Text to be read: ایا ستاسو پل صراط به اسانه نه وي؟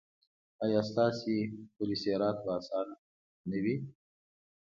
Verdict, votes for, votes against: accepted, 2, 0